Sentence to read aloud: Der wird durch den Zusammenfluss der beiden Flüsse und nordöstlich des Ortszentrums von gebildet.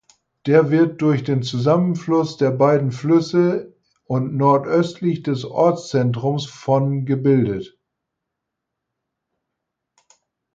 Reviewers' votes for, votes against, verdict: 4, 0, accepted